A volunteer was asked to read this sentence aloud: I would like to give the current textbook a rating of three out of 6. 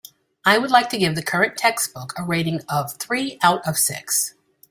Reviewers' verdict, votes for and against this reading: rejected, 0, 2